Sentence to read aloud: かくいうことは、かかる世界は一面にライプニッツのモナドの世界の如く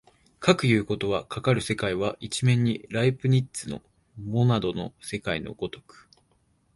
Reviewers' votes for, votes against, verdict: 2, 0, accepted